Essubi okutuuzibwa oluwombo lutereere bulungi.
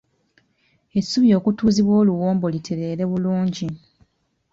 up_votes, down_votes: 2, 1